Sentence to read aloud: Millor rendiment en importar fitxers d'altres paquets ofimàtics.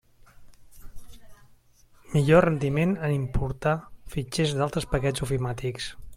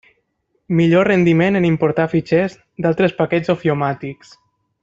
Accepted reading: first